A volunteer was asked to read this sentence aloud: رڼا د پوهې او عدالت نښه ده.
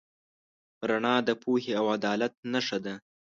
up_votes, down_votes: 2, 0